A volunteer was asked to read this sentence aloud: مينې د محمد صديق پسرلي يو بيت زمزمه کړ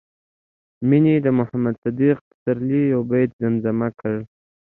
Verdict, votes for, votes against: accepted, 2, 0